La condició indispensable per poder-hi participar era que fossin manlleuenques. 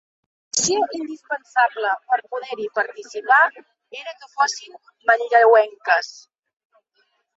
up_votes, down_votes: 0, 2